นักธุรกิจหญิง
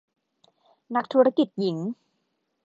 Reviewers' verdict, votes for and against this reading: accepted, 2, 0